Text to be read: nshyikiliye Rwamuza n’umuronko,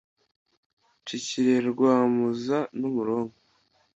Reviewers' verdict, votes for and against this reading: accepted, 2, 0